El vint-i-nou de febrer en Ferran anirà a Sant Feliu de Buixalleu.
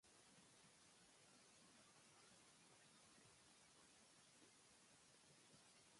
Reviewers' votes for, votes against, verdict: 1, 2, rejected